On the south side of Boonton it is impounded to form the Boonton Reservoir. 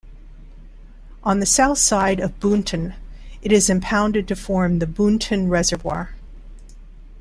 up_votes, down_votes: 2, 0